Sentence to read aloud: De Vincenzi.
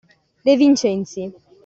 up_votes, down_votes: 2, 0